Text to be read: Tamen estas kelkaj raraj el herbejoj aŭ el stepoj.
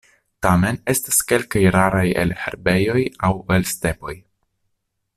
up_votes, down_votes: 3, 0